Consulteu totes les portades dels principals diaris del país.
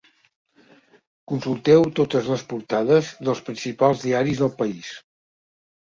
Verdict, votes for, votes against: accepted, 4, 0